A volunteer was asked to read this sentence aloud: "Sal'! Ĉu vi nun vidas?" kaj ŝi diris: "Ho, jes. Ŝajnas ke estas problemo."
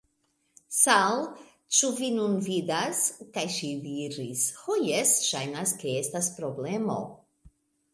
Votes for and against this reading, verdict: 2, 0, accepted